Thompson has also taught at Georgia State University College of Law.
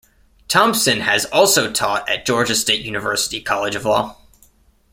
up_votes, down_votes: 2, 0